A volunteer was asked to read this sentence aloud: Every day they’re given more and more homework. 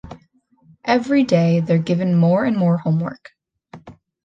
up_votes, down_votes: 0, 2